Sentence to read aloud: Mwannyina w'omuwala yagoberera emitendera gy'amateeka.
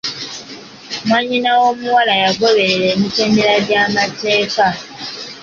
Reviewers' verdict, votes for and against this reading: accepted, 2, 0